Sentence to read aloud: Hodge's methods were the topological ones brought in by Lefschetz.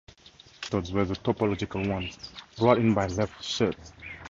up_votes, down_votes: 2, 2